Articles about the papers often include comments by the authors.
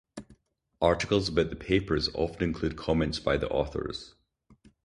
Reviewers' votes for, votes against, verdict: 4, 0, accepted